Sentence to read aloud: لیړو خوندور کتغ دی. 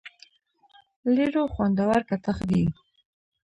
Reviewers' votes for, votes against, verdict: 0, 2, rejected